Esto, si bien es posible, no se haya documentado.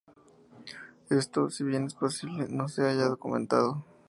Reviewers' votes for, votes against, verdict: 2, 0, accepted